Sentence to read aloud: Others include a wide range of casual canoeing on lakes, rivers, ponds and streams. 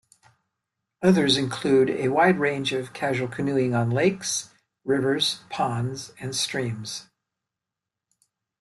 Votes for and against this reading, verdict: 2, 0, accepted